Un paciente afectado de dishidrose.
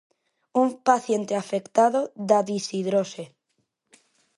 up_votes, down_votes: 0, 2